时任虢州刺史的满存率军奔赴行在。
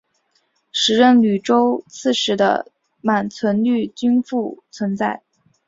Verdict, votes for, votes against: rejected, 0, 2